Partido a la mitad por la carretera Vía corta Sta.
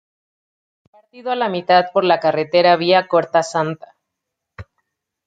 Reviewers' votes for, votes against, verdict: 0, 2, rejected